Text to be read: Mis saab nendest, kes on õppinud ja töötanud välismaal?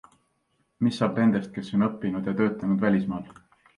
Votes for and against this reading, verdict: 2, 1, accepted